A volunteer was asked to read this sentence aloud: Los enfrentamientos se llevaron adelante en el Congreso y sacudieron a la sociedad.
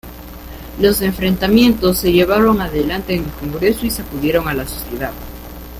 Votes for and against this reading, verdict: 0, 2, rejected